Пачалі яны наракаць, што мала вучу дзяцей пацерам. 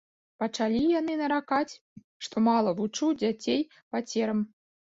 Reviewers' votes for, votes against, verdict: 0, 2, rejected